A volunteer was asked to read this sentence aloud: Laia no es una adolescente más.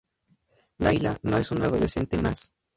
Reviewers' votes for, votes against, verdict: 0, 2, rejected